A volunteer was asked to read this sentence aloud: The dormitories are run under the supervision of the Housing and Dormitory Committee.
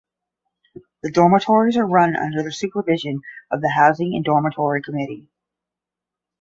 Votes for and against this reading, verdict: 10, 0, accepted